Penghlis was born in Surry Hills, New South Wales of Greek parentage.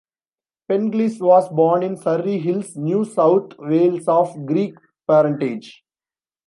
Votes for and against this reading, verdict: 1, 2, rejected